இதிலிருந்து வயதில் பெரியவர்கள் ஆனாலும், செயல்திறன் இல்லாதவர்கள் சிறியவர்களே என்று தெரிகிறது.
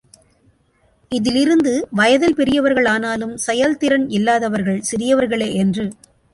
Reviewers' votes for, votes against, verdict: 0, 2, rejected